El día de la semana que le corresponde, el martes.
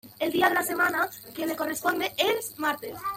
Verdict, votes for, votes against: rejected, 1, 2